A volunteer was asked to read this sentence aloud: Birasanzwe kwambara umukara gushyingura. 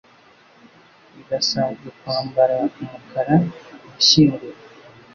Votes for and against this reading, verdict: 2, 0, accepted